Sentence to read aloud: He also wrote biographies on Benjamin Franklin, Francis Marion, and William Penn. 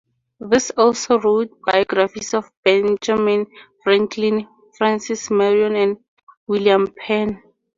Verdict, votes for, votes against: rejected, 0, 2